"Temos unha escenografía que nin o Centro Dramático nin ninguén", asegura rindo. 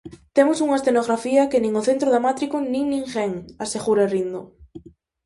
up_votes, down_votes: 4, 0